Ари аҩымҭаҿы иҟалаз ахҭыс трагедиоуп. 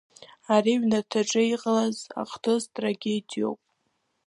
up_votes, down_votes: 1, 2